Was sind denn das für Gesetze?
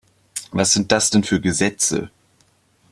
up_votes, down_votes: 0, 2